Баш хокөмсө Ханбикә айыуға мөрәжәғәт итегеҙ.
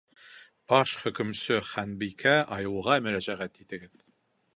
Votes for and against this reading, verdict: 4, 2, accepted